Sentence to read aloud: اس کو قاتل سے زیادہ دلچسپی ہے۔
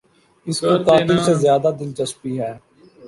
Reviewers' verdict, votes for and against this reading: rejected, 0, 2